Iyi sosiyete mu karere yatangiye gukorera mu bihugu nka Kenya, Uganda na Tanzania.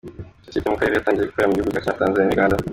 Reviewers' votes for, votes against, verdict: 0, 2, rejected